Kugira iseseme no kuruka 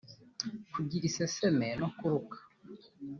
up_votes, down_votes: 2, 0